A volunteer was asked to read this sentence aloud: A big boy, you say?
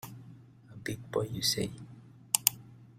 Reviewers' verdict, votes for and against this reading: accepted, 2, 1